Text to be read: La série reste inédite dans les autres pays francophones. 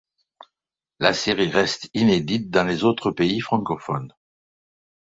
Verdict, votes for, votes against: accepted, 2, 0